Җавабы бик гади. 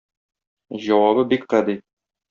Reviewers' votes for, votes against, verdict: 2, 0, accepted